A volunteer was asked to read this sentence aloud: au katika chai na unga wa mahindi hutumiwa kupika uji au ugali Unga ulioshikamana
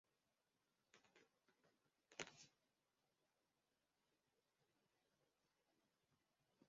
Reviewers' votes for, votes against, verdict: 0, 2, rejected